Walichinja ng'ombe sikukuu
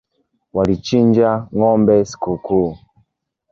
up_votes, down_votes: 2, 0